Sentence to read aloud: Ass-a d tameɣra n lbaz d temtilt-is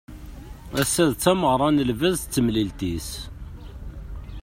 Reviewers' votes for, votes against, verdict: 1, 2, rejected